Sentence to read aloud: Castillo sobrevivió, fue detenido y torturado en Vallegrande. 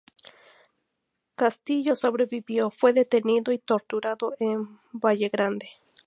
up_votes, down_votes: 2, 0